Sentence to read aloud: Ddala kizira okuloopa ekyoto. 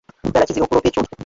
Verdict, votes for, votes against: rejected, 0, 2